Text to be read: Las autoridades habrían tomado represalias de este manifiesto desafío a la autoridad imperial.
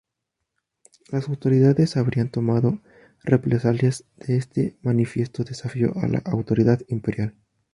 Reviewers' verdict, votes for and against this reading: accepted, 2, 0